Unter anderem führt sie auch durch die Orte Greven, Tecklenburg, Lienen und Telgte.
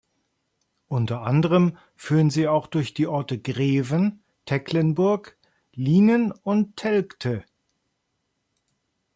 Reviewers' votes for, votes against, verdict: 0, 2, rejected